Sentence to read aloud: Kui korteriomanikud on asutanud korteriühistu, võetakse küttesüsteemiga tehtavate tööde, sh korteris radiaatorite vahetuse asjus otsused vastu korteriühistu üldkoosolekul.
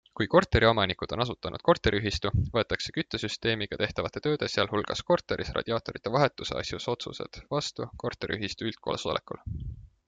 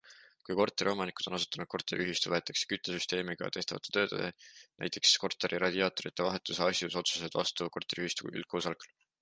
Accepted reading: first